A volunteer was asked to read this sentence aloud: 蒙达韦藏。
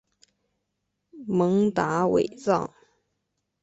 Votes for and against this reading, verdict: 2, 0, accepted